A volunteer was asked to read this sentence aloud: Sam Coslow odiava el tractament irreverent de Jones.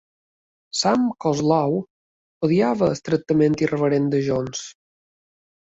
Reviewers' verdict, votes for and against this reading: rejected, 1, 2